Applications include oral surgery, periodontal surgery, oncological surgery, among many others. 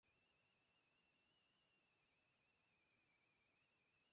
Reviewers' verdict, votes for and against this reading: rejected, 0, 2